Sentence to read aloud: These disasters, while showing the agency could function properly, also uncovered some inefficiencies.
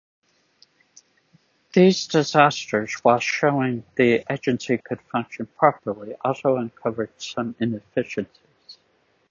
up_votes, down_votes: 1, 2